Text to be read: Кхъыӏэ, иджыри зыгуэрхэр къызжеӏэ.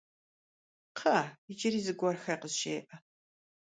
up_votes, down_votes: 2, 0